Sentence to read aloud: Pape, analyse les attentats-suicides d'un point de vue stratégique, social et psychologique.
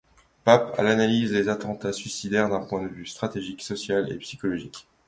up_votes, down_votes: 1, 2